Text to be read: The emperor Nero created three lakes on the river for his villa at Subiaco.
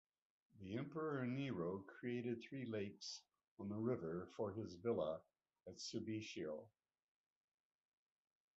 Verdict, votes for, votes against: accepted, 2, 0